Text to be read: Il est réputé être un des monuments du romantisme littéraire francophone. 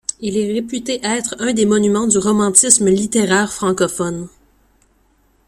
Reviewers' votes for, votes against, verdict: 1, 2, rejected